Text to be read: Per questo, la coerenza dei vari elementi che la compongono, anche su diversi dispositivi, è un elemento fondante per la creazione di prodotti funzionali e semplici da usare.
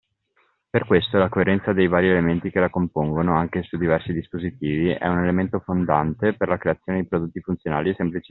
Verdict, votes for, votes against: rejected, 0, 2